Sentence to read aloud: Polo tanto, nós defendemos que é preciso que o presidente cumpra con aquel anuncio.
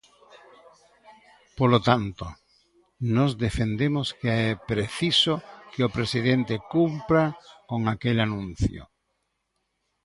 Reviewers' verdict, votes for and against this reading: accepted, 2, 0